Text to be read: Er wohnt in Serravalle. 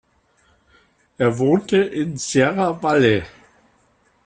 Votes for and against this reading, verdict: 1, 2, rejected